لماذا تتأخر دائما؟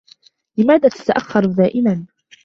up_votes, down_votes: 2, 1